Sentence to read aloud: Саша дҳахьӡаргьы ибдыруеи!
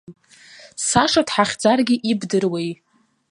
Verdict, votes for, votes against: accepted, 2, 0